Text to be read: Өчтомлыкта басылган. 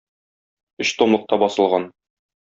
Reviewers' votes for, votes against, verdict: 2, 0, accepted